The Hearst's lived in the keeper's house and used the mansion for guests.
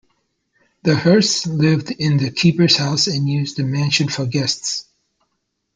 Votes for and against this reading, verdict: 2, 1, accepted